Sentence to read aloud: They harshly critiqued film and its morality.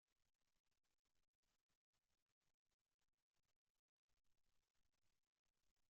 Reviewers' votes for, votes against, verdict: 0, 2, rejected